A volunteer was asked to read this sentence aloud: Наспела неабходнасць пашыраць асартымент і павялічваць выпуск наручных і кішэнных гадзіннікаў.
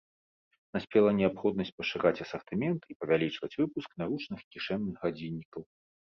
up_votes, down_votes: 3, 1